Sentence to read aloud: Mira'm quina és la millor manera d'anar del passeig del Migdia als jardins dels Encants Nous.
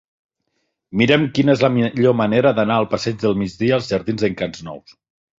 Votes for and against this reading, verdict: 0, 2, rejected